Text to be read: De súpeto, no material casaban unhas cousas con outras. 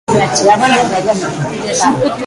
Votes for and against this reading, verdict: 0, 2, rejected